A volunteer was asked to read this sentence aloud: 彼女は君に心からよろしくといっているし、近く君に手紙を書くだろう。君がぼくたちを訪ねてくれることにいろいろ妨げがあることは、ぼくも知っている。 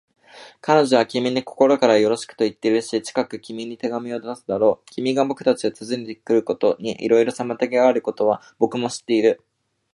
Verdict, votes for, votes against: rejected, 1, 2